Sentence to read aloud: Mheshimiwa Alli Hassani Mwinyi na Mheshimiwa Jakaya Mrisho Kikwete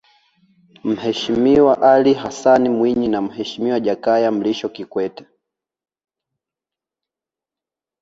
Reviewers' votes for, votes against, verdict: 2, 1, accepted